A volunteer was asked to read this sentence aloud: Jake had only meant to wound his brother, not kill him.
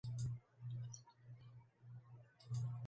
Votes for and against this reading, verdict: 0, 2, rejected